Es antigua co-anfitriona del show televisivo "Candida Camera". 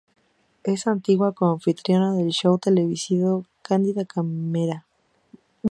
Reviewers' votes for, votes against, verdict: 2, 0, accepted